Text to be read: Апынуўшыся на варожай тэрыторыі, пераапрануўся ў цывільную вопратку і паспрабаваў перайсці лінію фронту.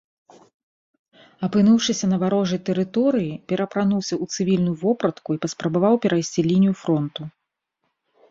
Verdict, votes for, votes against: accepted, 2, 0